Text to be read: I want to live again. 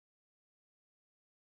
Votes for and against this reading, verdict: 0, 2, rejected